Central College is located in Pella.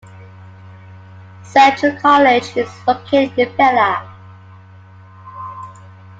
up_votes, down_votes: 2, 0